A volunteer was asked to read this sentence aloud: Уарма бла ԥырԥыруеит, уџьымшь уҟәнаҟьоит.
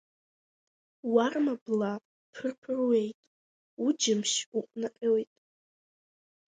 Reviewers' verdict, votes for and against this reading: accepted, 2, 1